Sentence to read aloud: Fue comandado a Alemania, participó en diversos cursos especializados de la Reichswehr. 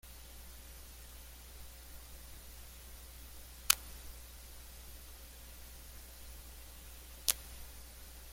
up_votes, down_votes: 1, 2